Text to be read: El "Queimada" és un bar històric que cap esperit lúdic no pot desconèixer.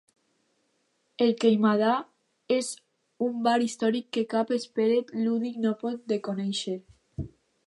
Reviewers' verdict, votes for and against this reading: rejected, 0, 2